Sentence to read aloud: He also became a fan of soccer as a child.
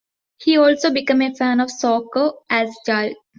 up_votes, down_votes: 1, 2